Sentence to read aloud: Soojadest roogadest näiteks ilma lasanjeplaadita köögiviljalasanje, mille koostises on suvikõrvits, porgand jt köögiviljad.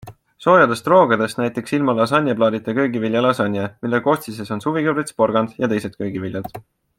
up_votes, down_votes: 2, 0